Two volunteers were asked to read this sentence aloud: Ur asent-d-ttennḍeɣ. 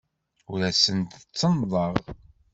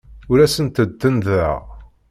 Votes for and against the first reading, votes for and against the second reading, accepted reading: 2, 0, 1, 2, first